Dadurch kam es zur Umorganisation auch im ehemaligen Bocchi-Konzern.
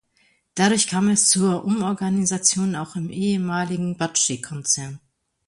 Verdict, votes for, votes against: rejected, 1, 2